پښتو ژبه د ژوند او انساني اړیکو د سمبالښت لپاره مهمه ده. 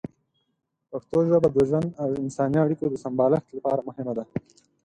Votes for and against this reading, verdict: 4, 0, accepted